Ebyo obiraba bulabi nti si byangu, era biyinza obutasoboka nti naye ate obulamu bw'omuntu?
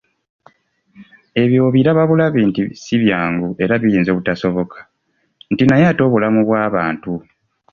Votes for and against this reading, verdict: 1, 2, rejected